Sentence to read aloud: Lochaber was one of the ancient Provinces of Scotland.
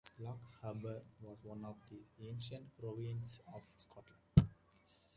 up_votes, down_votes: 1, 2